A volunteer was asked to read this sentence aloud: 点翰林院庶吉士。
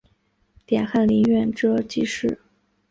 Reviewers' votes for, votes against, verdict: 1, 2, rejected